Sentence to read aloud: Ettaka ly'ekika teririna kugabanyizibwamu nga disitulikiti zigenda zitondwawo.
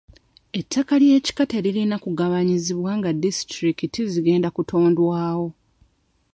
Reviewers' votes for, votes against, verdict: 0, 2, rejected